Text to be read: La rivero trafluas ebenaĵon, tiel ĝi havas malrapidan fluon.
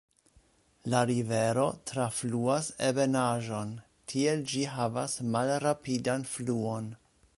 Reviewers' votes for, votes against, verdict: 1, 2, rejected